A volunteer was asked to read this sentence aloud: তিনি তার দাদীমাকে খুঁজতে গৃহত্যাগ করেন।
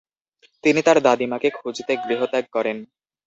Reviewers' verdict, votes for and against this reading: accepted, 2, 0